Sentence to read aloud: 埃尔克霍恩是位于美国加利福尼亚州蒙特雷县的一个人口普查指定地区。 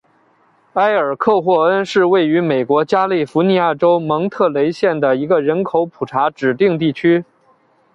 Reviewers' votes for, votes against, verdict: 2, 0, accepted